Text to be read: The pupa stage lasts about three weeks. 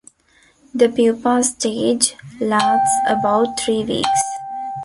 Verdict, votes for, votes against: rejected, 0, 3